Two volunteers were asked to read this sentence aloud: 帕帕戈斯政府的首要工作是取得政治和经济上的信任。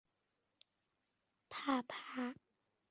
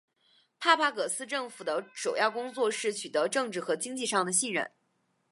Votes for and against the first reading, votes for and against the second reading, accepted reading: 0, 2, 3, 0, second